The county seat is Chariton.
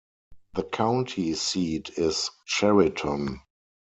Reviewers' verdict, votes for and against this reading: accepted, 4, 0